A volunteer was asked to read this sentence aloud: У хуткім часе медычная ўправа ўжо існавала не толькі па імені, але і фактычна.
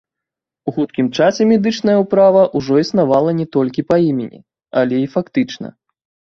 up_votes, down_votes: 1, 2